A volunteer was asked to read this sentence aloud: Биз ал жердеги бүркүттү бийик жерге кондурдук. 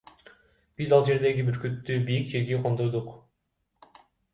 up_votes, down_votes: 2, 1